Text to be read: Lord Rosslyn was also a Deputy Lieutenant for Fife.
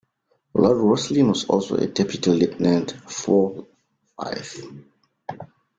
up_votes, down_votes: 1, 2